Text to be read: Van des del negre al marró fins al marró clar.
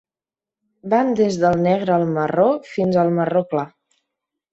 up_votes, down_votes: 5, 0